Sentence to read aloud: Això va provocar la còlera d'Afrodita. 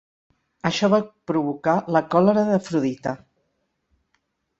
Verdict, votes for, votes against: accepted, 4, 0